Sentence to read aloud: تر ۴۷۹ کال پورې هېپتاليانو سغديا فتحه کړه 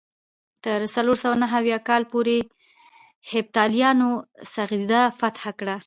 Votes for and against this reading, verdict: 0, 2, rejected